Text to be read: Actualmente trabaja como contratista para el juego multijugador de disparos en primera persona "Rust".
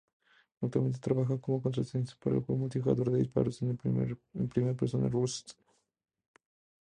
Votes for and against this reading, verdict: 2, 0, accepted